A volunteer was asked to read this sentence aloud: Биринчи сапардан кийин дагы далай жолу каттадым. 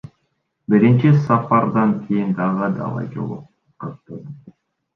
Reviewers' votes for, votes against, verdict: 0, 2, rejected